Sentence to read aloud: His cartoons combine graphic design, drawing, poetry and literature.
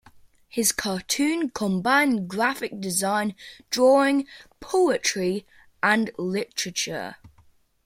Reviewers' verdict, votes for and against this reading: accepted, 3, 1